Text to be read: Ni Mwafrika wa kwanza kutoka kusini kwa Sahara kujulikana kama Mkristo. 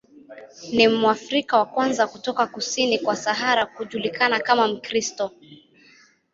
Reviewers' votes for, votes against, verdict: 2, 0, accepted